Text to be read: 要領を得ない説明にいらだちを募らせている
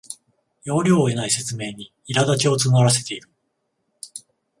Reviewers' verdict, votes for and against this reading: accepted, 14, 0